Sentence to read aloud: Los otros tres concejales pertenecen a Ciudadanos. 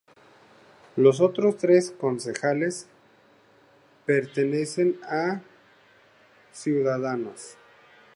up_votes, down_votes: 2, 0